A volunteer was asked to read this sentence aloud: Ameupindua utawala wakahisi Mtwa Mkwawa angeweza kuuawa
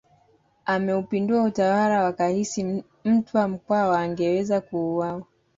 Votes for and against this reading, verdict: 2, 0, accepted